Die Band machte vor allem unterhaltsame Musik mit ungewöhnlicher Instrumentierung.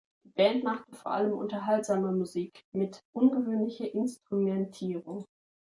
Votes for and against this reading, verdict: 1, 2, rejected